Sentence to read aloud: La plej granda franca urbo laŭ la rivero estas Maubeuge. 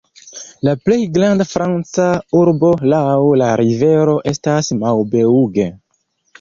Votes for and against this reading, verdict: 3, 0, accepted